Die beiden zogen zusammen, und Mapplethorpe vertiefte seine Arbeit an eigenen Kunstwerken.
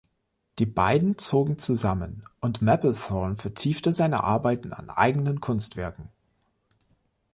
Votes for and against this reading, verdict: 0, 2, rejected